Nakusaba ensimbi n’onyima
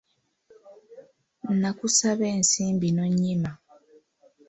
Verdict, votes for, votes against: accepted, 2, 0